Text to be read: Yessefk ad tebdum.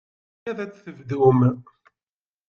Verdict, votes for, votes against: rejected, 1, 2